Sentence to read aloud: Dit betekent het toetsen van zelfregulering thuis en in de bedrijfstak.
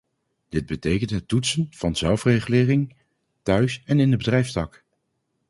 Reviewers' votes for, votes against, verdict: 0, 2, rejected